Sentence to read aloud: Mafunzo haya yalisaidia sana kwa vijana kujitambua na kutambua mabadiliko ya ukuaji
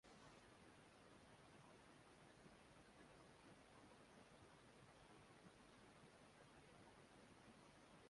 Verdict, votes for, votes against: rejected, 0, 2